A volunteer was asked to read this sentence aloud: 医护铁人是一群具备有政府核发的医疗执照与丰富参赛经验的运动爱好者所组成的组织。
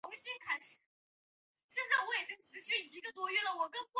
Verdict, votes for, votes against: rejected, 0, 2